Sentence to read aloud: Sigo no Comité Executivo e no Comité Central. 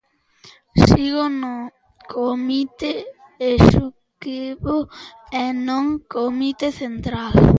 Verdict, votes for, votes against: rejected, 0, 2